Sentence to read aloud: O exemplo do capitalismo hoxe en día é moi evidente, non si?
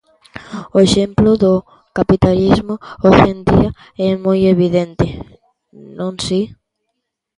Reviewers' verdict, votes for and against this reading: accepted, 2, 0